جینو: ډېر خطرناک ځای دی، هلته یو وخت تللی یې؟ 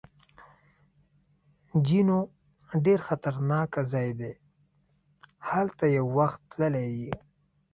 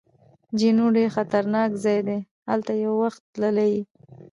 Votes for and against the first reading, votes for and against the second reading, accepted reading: 2, 1, 1, 2, first